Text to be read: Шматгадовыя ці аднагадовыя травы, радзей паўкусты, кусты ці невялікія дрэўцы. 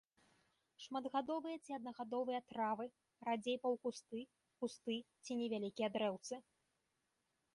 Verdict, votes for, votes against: accepted, 2, 0